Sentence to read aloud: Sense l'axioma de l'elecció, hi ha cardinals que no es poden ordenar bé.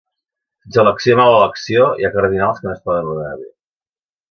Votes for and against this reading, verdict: 1, 2, rejected